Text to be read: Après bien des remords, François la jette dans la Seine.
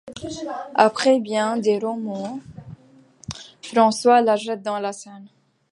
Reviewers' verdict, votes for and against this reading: rejected, 0, 2